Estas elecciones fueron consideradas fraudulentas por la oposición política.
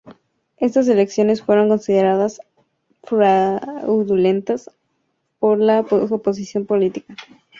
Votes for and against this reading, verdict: 0, 2, rejected